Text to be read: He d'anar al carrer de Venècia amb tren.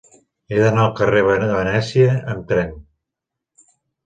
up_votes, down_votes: 0, 2